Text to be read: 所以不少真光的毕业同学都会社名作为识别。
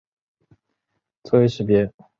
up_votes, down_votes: 0, 2